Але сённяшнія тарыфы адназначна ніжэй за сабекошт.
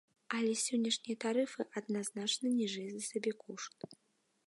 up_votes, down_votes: 2, 0